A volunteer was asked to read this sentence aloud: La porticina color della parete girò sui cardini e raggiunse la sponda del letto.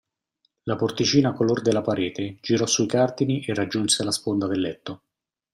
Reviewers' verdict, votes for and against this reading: accepted, 2, 1